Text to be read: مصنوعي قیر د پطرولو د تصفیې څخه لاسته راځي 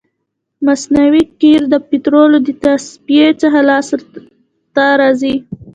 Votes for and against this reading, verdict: 0, 2, rejected